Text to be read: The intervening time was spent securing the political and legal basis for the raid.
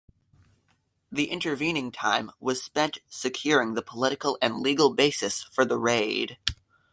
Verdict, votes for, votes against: accepted, 2, 0